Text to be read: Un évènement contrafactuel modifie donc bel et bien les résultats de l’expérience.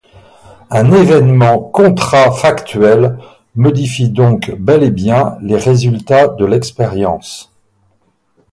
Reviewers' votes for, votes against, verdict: 2, 2, rejected